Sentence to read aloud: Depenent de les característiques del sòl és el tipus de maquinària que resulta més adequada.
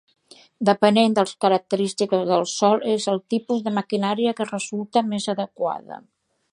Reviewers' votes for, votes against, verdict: 1, 2, rejected